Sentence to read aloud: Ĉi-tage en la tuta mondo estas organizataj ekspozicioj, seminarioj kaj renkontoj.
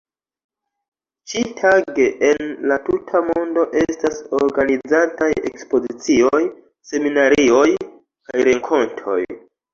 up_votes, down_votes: 0, 2